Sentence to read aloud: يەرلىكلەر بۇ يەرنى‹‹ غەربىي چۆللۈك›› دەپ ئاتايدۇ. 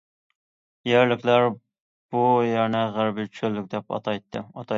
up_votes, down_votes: 0, 2